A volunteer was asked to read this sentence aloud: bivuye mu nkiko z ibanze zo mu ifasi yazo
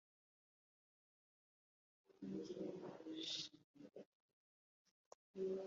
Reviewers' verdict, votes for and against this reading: rejected, 1, 2